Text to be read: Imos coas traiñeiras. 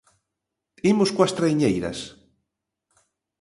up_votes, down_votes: 2, 0